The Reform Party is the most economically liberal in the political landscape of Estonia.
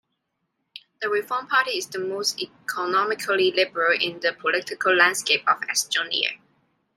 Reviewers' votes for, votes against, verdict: 2, 1, accepted